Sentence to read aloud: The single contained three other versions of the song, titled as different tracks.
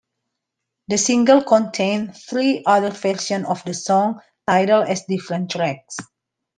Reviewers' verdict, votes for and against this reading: rejected, 1, 2